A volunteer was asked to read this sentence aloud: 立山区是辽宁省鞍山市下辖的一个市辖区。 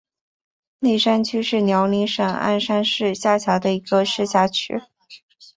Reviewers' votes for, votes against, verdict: 2, 0, accepted